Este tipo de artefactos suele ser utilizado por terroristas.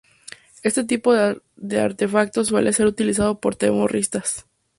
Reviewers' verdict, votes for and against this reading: rejected, 0, 2